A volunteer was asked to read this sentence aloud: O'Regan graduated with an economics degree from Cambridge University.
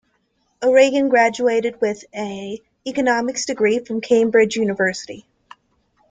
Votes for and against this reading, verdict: 2, 0, accepted